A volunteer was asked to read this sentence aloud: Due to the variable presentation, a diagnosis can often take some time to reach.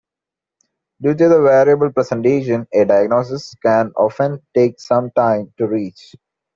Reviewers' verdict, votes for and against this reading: accepted, 2, 0